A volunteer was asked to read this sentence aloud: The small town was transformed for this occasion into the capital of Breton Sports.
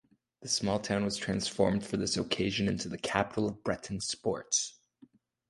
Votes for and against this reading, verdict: 2, 0, accepted